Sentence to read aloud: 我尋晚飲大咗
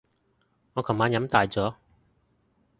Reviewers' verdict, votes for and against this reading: rejected, 1, 2